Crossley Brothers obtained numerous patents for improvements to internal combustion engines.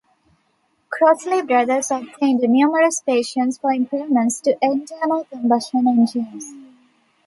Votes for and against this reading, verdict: 2, 1, accepted